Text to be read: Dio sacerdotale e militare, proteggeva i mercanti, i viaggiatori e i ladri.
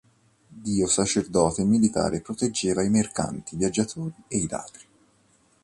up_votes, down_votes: 1, 3